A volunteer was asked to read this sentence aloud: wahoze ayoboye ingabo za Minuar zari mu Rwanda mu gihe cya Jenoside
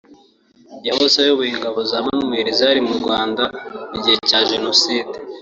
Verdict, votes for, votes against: rejected, 1, 2